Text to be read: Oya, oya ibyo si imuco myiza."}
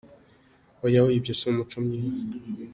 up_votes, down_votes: 2, 0